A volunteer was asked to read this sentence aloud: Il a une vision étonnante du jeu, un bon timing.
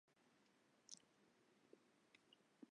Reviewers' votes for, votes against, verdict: 0, 2, rejected